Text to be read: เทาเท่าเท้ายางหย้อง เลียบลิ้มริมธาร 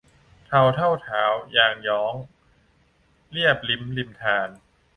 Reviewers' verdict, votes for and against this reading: rejected, 0, 2